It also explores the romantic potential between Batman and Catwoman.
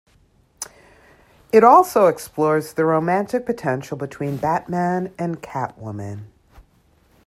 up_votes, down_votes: 2, 0